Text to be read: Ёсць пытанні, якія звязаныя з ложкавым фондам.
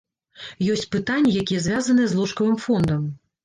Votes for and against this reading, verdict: 1, 2, rejected